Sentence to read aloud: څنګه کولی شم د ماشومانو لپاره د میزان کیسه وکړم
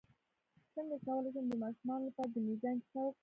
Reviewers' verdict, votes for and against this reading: rejected, 0, 2